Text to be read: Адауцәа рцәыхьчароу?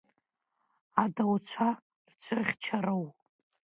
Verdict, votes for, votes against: rejected, 0, 2